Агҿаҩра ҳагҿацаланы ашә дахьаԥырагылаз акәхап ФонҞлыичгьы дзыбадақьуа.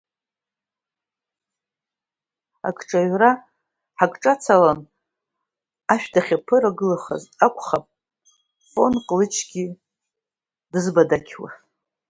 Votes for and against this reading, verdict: 1, 2, rejected